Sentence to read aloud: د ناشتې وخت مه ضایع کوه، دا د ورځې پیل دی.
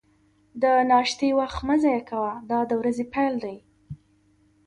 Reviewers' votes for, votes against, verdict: 2, 0, accepted